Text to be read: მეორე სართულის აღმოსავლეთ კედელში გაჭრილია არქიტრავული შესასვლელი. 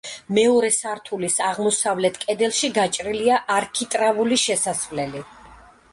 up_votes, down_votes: 2, 0